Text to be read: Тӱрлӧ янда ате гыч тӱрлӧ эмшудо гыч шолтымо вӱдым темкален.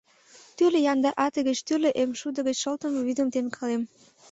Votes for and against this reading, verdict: 1, 2, rejected